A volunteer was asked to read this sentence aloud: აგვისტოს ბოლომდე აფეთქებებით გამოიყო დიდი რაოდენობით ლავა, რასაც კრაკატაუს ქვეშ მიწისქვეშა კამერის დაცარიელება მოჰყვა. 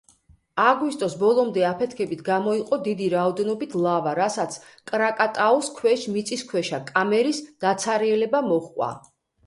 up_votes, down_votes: 1, 2